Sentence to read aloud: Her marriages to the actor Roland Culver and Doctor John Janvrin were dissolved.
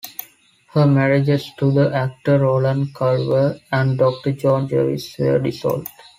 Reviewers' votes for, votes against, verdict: 2, 0, accepted